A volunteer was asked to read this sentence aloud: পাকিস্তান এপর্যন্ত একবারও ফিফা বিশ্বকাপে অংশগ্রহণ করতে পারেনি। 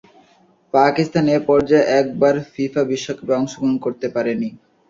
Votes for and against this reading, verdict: 0, 2, rejected